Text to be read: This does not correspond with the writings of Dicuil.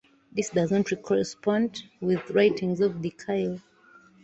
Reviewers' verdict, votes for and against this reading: rejected, 0, 2